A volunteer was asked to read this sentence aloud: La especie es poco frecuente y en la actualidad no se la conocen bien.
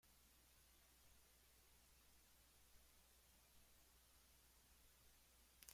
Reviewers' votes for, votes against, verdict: 0, 2, rejected